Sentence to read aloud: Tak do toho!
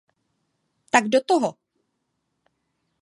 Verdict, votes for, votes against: accepted, 2, 0